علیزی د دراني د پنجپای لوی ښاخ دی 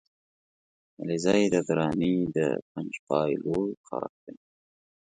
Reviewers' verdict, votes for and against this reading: accepted, 2, 0